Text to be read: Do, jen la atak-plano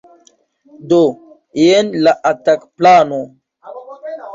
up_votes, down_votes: 0, 2